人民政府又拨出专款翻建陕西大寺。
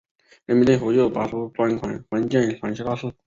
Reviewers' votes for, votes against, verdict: 1, 3, rejected